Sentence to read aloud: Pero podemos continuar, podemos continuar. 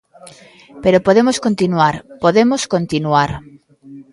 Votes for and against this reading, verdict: 2, 0, accepted